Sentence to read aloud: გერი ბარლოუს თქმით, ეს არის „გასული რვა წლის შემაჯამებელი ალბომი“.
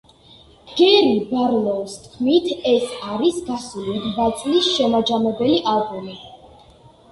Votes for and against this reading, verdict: 1, 2, rejected